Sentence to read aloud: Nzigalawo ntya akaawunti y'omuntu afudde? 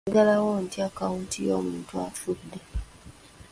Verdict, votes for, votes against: rejected, 0, 2